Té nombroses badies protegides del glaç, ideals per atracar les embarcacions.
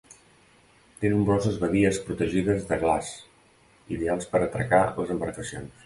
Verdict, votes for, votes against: rejected, 1, 2